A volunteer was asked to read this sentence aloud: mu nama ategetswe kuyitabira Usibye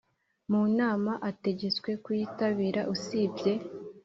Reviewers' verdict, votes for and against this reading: accepted, 3, 0